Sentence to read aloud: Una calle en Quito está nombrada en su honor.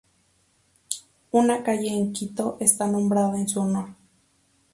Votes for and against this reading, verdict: 2, 0, accepted